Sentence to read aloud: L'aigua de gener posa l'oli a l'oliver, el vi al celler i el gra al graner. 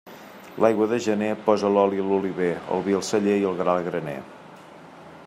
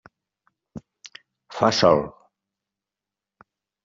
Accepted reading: first